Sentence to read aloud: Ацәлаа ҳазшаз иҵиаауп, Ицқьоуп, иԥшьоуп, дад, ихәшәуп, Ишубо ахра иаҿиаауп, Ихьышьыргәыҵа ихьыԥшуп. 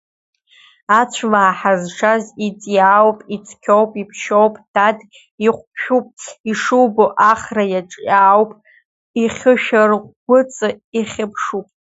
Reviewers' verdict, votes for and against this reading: rejected, 1, 2